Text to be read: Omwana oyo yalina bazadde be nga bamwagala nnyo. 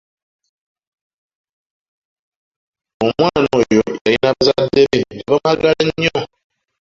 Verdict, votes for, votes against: rejected, 1, 2